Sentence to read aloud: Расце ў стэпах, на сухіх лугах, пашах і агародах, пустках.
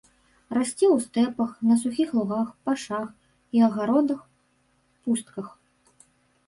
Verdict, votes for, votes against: rejected, 1, 2